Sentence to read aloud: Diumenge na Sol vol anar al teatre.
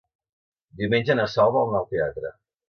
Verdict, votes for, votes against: rejected, 1, 2